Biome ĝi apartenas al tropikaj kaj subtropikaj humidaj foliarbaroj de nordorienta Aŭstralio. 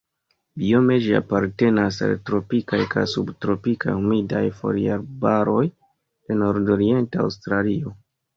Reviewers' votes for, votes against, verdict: 1, 2, rejected